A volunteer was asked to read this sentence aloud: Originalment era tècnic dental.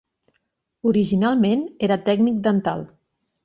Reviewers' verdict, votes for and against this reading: accepted, 2, 0